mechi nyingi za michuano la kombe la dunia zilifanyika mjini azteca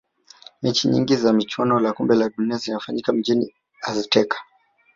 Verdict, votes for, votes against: rejected, 1, 2